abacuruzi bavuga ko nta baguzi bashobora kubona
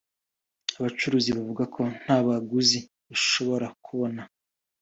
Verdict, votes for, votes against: accepted, 2, 0